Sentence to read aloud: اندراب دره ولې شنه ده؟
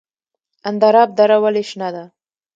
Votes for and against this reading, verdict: 2, 0, accepted